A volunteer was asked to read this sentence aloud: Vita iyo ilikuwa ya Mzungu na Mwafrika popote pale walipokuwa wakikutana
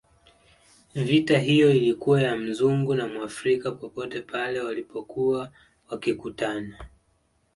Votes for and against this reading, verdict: 3, 0, accepted